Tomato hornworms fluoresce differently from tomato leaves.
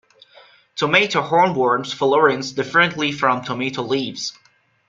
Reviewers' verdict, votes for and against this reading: rejected, 0, 2